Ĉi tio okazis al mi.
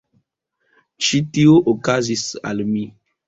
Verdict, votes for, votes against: accepted, 2, 1